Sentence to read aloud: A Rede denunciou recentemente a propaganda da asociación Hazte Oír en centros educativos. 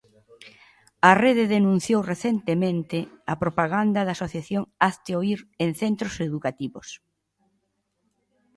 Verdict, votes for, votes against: accepted, 3, 0